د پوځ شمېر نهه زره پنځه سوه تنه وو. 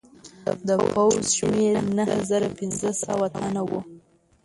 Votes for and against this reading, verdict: 0, 2, rejected